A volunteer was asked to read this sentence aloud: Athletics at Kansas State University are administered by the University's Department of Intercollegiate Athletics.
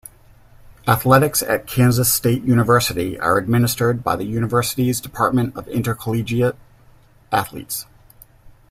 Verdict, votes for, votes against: rejected, 0, 2